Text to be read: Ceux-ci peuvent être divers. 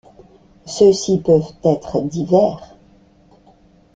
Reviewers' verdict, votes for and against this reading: accepted, 2, 0